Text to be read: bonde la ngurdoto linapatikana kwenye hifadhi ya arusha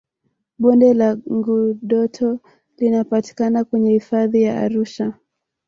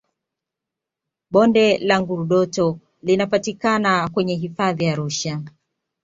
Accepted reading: second